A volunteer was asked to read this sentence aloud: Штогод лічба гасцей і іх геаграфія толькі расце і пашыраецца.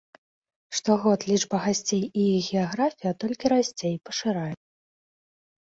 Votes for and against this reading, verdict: 1, 2, rejected